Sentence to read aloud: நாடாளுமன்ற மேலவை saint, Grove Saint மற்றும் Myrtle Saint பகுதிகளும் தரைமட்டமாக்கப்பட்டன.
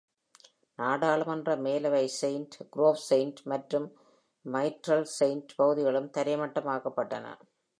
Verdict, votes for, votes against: accepted, 2, 0